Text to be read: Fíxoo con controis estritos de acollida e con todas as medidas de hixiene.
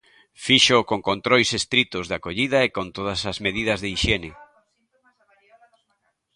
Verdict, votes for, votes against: accepted, 2, 0